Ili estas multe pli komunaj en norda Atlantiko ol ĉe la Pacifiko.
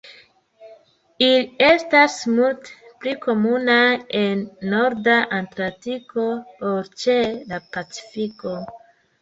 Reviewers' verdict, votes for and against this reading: rejected, 1, 2